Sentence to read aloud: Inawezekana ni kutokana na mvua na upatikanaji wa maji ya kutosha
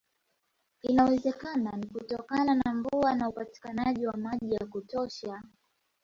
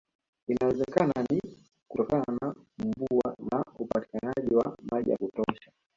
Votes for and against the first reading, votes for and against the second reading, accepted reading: 2, 0, 1, 2, first